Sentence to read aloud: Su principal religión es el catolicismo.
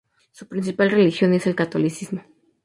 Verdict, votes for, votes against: rejected, 0, 2